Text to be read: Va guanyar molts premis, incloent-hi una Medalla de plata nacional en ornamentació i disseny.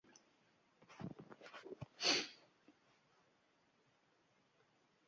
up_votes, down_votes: 0, 2